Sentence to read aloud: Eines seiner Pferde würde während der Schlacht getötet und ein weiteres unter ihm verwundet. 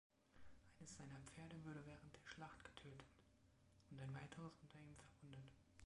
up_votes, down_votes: 1, 2